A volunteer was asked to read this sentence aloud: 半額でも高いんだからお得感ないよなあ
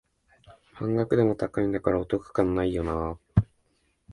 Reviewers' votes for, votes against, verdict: 2, 0, accepted